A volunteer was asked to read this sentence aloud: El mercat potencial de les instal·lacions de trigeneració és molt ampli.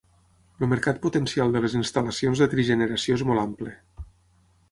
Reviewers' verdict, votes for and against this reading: rejected, 0, 6